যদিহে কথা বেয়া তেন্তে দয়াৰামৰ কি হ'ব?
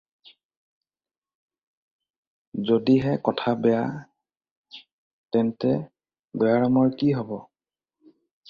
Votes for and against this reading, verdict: 4, 0, accepted